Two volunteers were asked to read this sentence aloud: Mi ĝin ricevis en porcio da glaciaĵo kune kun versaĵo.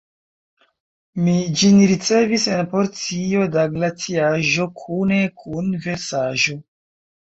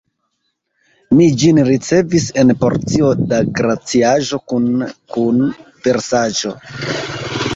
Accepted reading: first